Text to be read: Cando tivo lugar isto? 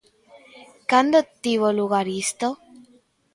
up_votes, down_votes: 2, 0